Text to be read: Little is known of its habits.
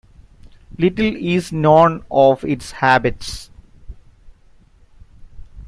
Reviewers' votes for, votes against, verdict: 2, 0, accepted